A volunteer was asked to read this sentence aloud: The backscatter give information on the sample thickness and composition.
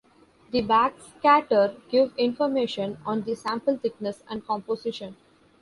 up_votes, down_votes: 1, 2